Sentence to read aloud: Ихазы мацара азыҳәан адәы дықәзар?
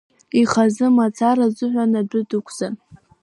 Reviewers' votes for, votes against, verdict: 2, 1, accepted